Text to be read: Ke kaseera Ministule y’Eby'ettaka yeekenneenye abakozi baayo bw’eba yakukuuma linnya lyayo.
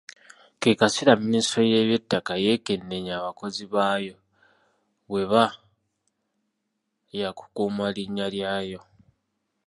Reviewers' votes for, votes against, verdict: 1, 2, rejected